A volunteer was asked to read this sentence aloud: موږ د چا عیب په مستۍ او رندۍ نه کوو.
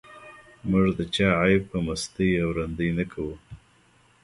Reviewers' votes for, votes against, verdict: 2, 1, accepted